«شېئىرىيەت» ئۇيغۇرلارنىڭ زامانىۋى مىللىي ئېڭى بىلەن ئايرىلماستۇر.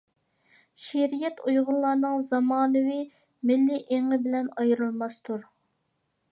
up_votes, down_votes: 2, 0